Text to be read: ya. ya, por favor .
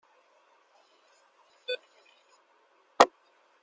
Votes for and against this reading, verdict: 0, 2, rejected